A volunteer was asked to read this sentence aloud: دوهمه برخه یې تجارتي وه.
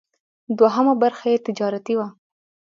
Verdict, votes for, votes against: accepted, 2, 0